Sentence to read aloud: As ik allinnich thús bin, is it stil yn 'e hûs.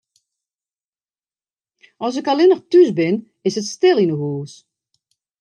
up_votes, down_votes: 2, 0